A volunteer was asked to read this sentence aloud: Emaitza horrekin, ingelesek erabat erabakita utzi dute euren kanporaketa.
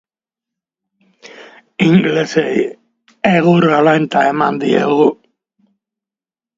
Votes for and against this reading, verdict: 1, 2, rejected